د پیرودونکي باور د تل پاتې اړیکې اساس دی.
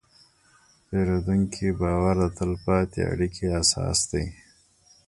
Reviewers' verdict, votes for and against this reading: rejected, 1, 2